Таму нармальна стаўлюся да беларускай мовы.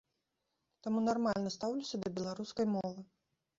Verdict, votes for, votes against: accepted, 2, 0